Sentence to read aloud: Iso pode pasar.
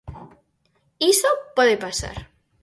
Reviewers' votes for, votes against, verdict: 4, 0, accepted